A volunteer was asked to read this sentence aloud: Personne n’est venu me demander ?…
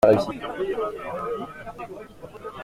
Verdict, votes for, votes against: rejected, 0, 2